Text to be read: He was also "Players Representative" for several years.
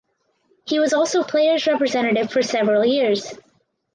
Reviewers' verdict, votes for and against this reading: rejected, 2, 2